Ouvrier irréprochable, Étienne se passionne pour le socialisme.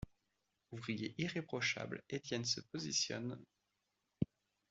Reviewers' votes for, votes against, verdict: 0, 2, rejected